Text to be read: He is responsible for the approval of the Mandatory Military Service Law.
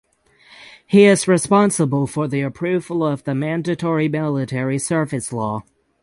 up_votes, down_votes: 3, 6